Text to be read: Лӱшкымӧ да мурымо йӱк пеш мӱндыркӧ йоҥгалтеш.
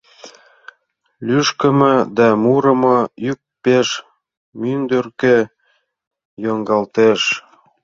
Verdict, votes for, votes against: rejected, 1, 2